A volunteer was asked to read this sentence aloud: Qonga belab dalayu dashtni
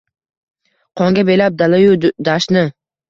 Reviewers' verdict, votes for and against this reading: rejected, 1, 2